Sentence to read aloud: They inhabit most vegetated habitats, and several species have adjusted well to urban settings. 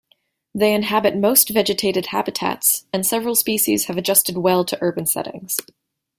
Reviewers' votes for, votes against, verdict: 2, 0, accepted